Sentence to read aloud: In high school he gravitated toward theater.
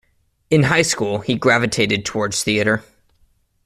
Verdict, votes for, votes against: rejected, 1, 2